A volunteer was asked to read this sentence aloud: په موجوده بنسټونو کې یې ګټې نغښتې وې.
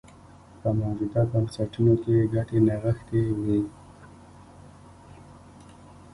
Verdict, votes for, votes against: rejected, 1, 2